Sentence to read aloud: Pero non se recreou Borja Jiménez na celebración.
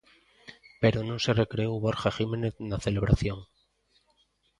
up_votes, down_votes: 2, 0